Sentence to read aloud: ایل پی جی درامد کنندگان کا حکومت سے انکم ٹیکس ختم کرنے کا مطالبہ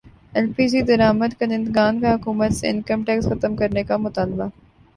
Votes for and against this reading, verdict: 5, 1, accepted